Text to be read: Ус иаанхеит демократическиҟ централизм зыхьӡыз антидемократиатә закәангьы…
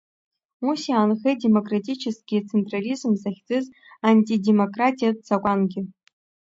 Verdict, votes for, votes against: rejected, 1, 2